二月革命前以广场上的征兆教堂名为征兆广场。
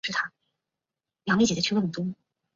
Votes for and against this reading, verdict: 0, 2, rejected